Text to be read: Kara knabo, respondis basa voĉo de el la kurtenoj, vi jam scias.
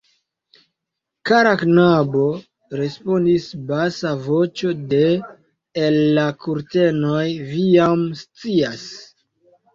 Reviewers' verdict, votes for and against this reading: accepted, 2, 0